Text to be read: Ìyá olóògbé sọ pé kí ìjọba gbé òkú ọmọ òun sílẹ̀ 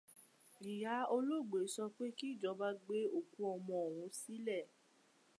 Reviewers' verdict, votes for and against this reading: accepted, 2, 0